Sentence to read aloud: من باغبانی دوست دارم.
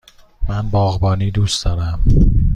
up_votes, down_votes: 2, 0